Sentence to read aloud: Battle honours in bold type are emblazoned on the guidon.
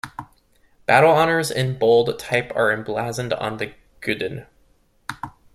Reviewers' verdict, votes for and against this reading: rejected, 0, 2